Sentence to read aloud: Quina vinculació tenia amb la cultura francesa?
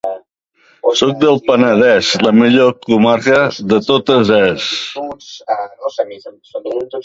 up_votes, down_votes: 0, 2